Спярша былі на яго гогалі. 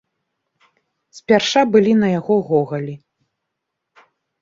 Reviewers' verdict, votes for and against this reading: accepted, 2, 0